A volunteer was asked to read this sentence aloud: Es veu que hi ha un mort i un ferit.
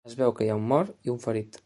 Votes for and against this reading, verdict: 2, 0, accepted